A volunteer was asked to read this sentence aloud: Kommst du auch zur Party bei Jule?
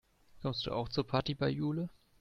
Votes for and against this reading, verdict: 2, 0, accepted